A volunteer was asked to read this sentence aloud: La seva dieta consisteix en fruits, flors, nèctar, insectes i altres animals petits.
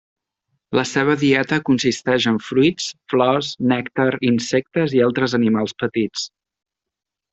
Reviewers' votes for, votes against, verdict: 3, 0, accepted